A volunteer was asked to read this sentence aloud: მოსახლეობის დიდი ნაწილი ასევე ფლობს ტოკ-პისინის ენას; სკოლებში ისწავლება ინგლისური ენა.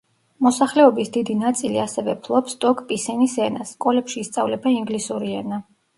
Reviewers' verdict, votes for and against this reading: accepted, 2, 0